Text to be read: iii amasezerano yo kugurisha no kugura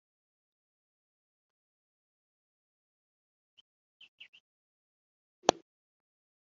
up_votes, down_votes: 0, 2